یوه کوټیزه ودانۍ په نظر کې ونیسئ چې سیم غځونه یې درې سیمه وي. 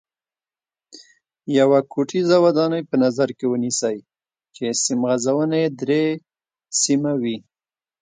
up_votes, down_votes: 2, 0